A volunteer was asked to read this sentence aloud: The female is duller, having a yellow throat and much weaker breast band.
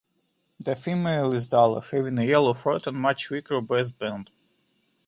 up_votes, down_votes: 2, 0